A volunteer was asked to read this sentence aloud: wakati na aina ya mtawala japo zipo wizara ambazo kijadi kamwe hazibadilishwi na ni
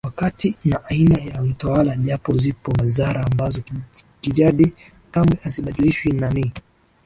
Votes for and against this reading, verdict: 2, 1, accepted